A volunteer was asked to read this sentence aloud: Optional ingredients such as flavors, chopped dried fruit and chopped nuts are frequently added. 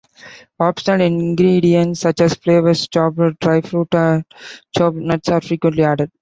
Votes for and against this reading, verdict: 0, 2, rejected